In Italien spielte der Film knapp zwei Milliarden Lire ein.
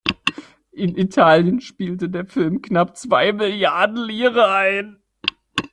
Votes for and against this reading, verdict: 0, 2, rejected